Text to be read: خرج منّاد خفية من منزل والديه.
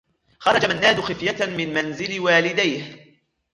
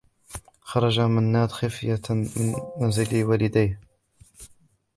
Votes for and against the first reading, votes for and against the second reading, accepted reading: 1, 2, 3, 0, second